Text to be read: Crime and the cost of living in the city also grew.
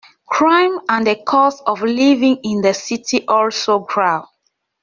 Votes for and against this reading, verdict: 0, 2, rejected